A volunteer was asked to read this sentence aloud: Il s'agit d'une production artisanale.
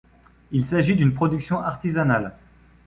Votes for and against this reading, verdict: 2, 0, accepted